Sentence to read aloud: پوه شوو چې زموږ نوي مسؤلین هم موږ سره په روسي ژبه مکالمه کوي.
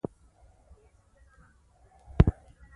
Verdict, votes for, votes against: rejected, 1, 2